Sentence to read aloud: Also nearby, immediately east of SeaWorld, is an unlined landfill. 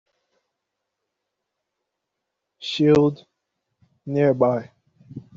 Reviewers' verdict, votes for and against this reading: rejected, 0, 2